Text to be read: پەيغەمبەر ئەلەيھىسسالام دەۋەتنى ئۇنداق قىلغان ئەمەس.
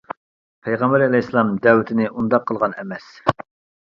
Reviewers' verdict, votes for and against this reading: rejected, 0, 2